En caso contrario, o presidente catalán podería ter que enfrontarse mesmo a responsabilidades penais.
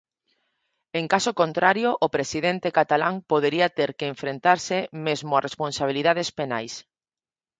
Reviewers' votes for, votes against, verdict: 0, 4, rejected